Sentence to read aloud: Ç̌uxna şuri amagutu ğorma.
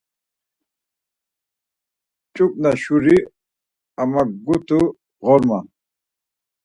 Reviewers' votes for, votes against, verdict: 4, 0, accepted